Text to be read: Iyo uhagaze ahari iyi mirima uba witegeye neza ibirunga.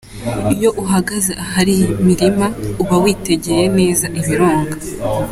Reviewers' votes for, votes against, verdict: 2, 0, accepted